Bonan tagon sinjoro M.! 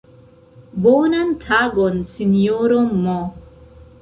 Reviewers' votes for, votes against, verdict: 2, 0, accepted